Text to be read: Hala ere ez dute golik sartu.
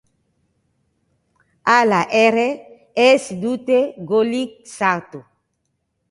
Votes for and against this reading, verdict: 2, 0, accepted